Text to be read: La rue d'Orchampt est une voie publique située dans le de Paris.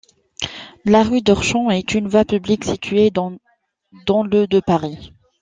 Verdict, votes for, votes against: accepted, 2, 0